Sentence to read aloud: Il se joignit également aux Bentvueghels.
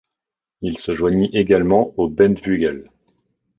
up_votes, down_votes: 2, 0